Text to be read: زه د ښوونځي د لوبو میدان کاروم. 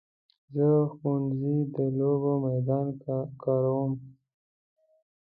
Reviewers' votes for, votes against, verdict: 3, 0, accepted